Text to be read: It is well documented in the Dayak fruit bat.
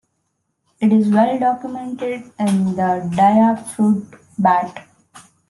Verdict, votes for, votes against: accepted, 2, 0